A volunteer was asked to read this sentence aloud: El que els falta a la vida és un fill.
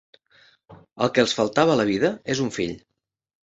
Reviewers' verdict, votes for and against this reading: rejected, 1, 2